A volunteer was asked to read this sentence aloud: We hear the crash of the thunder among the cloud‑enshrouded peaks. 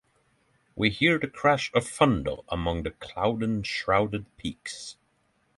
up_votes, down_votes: 3, 6